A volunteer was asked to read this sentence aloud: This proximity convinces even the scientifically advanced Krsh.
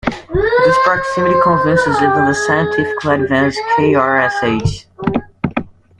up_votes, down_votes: 0, 2